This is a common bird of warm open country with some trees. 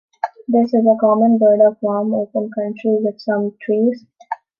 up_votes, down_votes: 2, 0